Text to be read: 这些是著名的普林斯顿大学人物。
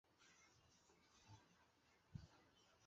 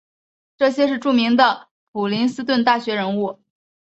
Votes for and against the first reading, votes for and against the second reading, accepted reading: 1, 4, 6, 0, second